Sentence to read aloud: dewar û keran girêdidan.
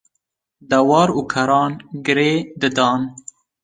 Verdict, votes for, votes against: rejected, 0, 2